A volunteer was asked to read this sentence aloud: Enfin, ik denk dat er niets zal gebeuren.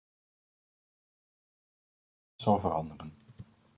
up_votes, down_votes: 0, 2